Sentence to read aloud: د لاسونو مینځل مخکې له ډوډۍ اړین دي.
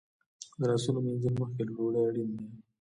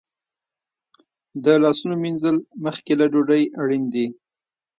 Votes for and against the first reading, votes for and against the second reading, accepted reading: 0, 2, 2, 0, second